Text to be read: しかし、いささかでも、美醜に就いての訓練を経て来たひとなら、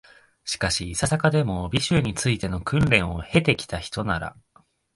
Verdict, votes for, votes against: rejected, 2, 3